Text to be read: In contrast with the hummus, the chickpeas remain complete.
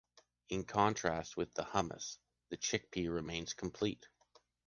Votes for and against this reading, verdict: 1, 2, rejected